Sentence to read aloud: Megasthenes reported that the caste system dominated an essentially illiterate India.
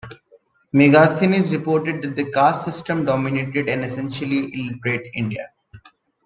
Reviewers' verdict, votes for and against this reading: accepted, 2, 0